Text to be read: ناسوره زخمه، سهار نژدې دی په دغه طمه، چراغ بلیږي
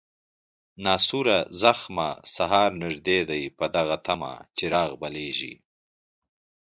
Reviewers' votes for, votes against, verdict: 3, 0, accepted